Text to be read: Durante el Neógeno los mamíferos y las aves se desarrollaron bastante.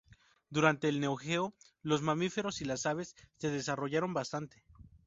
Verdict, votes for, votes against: rejected, 0, 2